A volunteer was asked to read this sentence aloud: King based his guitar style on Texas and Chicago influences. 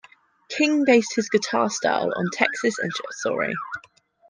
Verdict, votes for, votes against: rejected, 1, 2